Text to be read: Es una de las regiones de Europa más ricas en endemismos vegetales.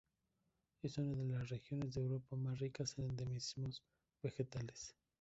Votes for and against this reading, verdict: 2, 0, accepted